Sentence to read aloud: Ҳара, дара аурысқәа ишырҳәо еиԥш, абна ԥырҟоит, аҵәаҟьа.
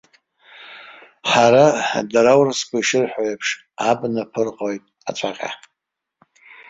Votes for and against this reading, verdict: 1, 2, rejected